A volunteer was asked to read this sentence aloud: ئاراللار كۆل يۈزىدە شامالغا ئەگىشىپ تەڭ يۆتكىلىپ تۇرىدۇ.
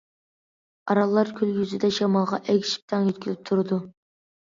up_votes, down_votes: 2, 0